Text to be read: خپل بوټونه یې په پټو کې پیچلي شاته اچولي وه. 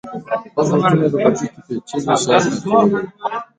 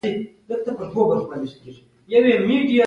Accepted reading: second